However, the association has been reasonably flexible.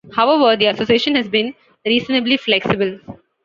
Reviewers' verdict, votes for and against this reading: accepted, 2, 0